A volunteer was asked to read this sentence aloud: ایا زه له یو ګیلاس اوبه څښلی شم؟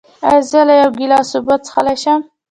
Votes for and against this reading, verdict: 2, 0, accepted